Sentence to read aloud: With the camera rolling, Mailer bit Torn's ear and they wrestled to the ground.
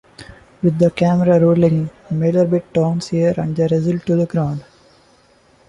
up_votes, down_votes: 0, 2